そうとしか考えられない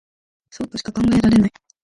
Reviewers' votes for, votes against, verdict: 4, 6, rejected